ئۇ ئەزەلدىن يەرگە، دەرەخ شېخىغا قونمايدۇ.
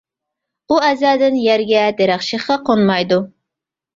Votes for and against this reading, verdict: 2, 0, accepted